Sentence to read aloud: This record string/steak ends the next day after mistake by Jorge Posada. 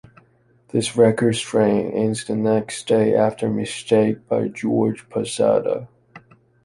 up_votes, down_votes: 1, 2